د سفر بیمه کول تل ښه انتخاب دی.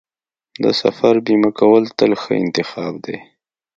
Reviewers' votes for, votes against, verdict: 2, 0, accepted